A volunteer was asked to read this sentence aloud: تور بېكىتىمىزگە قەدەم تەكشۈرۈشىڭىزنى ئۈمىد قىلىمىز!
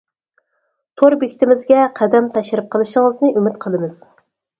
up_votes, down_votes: 0, 4